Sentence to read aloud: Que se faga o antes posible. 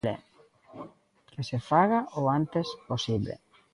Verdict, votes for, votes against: rejected, 1, 2